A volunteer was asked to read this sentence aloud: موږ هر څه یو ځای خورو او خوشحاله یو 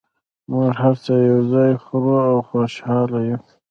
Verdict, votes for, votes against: rejected, 1, 2